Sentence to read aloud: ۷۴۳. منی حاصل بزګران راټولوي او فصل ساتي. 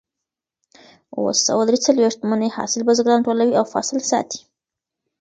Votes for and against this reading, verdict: 0, 2, rejected